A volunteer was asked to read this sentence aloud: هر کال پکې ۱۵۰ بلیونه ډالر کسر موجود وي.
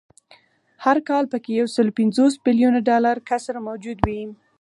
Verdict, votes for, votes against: rejected, 0, 2